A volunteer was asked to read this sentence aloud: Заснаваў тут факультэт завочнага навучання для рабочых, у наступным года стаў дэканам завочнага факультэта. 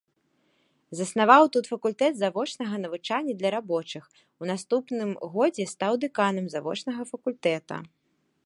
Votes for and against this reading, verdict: 0, 2, rejected